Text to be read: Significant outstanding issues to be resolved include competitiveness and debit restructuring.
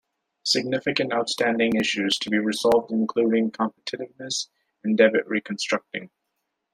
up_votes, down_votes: 0, 2